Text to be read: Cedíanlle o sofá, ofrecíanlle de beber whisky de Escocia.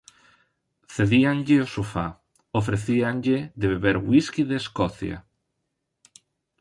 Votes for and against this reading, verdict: 3, 0, accepted